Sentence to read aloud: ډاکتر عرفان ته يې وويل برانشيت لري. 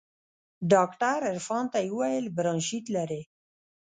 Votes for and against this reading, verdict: 1, 2, rejected